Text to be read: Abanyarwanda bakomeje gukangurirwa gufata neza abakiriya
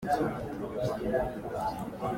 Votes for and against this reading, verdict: 0, 3, rejected